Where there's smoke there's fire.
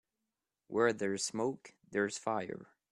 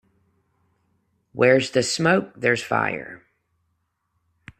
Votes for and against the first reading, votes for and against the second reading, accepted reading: 2, 0, 0, 2, first